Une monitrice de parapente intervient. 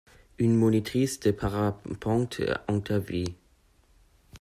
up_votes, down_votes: 0, 2